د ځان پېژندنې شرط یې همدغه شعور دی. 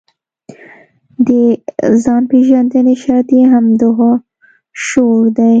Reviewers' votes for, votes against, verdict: 2, 0, accepted